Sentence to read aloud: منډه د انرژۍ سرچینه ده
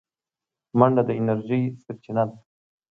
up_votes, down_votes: 2, 0